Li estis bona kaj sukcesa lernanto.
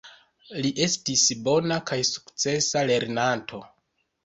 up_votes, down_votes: 1, 2